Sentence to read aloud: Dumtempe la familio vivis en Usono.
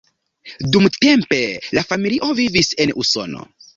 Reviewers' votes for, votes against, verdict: 2, 0, accepted